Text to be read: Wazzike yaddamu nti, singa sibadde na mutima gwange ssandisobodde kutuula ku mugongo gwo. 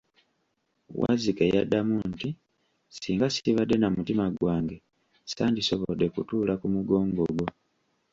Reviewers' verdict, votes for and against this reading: accepted, 2, 1